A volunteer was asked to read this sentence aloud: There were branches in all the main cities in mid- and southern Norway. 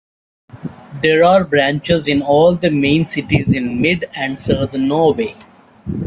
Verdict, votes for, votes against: rejected, 1, 2